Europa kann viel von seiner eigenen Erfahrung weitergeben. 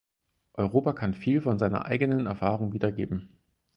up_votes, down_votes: 0, 4